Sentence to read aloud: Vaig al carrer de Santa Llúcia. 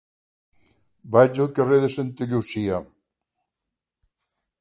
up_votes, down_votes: 3, 0